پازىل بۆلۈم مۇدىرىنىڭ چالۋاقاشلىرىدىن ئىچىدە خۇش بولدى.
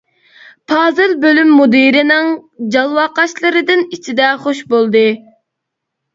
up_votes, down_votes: 1, 2